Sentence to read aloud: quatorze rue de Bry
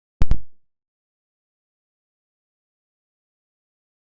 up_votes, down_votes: 0, 2